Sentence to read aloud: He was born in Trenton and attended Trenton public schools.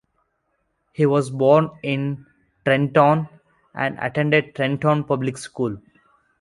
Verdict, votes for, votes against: rejected, 1, 2